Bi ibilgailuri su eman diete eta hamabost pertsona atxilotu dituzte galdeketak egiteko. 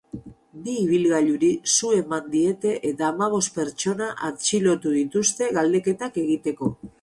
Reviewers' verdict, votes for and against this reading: rejected, 2, 2